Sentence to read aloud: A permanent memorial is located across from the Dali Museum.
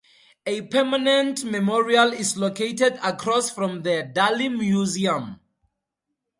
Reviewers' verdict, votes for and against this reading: accepted, 2, 0